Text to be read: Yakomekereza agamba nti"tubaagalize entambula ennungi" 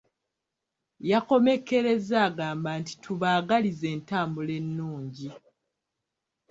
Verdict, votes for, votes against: accepted, 2, 0